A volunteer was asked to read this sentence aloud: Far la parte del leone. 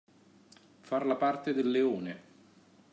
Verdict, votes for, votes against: accepted, 2, 0